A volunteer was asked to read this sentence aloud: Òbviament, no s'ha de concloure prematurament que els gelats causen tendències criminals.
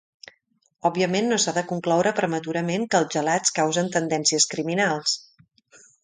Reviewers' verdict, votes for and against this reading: accepted, 2, 0